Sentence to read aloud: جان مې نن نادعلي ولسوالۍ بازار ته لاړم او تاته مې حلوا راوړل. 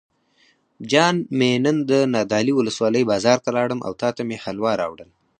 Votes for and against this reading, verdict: 4, 2, accepted